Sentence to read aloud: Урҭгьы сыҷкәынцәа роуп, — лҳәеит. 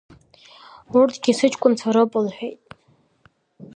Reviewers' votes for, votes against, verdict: 2, 0, accepted